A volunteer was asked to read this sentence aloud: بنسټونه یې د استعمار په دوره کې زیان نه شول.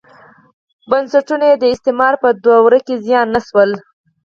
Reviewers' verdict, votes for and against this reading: accepted, 4, 2